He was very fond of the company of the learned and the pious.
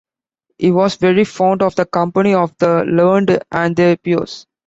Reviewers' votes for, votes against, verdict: 1, 2, rejected